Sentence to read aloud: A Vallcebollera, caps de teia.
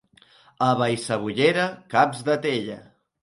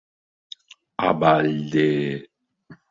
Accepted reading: first